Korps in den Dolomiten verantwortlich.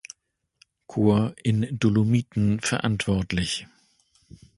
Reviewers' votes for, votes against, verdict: 1, 2, rejected